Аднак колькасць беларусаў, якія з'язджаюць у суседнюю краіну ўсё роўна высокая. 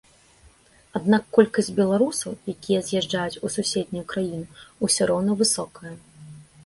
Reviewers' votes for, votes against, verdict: 2, 1, accepted